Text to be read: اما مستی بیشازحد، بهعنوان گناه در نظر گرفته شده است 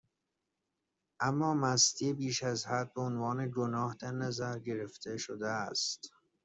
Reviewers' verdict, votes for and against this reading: accepted, 2, 0